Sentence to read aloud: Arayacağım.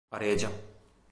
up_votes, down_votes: 0, 2